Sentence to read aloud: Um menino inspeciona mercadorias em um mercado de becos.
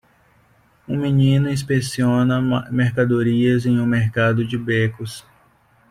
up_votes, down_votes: 0, 2